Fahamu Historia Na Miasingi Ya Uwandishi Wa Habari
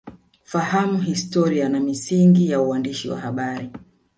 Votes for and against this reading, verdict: 0, 2, rejected